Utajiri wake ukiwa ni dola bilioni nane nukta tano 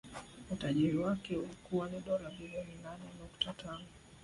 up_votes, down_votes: 1, 3